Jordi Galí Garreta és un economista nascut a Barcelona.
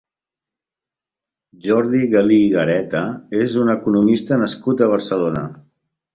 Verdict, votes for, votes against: rejected, 0, 2